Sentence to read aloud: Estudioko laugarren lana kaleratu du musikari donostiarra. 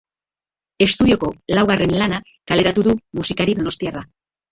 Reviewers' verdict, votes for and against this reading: rejected, 0, 2